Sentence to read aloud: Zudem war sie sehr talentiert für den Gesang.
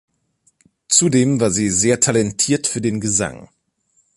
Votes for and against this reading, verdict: 2, 0, accepted